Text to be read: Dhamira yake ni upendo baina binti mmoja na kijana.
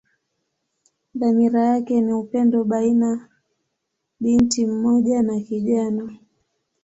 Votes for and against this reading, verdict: 3, 0, accepted